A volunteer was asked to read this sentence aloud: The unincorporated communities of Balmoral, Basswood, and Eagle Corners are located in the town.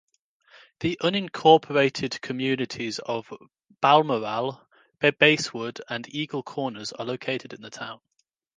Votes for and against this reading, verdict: 2, 0, accepted